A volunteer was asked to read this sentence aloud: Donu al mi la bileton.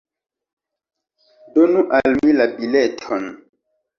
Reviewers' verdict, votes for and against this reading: accepted, 2, 0